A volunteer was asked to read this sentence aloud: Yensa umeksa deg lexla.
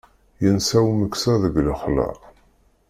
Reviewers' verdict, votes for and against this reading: accepted, 2, 0